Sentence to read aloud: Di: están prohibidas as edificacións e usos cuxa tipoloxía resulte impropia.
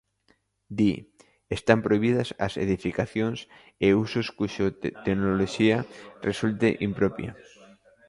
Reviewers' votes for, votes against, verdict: 1, 3, rejected